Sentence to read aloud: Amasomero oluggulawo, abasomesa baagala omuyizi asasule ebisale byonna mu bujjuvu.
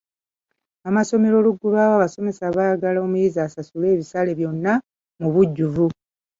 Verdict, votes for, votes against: rejected, 1, 2